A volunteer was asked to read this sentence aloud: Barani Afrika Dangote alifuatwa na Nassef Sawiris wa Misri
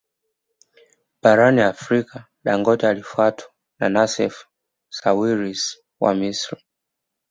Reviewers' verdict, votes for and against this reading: accepted, 2, 0